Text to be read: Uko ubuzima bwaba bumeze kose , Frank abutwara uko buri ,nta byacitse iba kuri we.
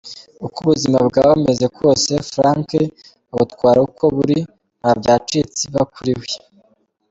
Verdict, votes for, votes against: accepted, 2, 0